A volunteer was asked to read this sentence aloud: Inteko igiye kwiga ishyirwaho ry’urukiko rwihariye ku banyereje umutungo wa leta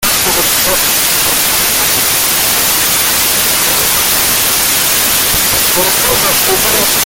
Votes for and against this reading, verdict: 0, 2, rejected